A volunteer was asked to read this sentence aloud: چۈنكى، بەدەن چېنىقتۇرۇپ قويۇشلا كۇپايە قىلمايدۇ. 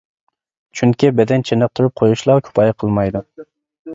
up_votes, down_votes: 2, 0